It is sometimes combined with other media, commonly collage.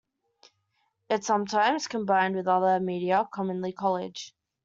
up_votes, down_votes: 2, 1